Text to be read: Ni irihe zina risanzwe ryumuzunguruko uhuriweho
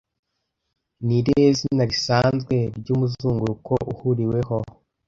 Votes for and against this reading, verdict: 2, 0, accepted